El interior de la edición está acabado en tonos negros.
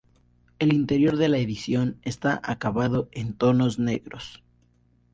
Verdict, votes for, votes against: rejected, 0, 4